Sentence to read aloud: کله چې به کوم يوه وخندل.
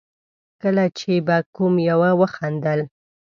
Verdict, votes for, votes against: accepted, 2, 0